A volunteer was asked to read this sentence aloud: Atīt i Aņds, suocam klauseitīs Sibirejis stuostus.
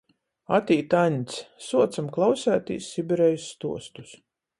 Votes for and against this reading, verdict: 0, 14, rejected